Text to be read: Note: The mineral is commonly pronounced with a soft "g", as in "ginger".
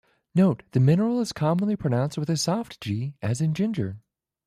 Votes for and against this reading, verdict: 2, 0, accepted